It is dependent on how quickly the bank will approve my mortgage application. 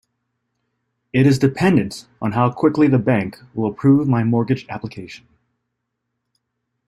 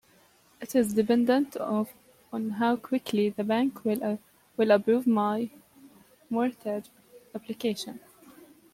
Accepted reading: first